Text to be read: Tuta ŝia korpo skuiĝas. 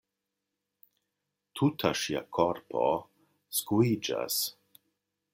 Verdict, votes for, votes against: accepted, 2, 0